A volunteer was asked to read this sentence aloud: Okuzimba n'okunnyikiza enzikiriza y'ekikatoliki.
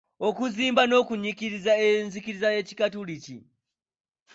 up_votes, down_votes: 1, 2